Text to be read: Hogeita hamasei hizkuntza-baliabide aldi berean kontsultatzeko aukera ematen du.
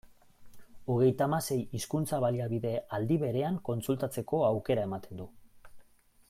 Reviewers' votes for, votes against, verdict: 2, 0, accepted